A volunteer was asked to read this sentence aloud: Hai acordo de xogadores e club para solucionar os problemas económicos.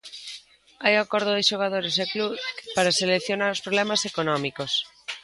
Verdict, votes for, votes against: rejected, 0, 2